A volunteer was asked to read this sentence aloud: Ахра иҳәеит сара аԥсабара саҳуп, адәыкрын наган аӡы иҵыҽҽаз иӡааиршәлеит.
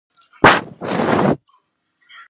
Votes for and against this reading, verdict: 0, 2, rejected